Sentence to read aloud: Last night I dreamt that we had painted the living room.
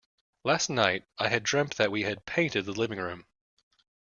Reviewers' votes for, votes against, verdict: 0, 2, rejected